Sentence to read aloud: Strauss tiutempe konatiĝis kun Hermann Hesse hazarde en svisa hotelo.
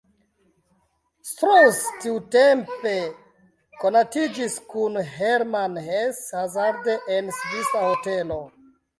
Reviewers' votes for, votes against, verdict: 2, 1, accepted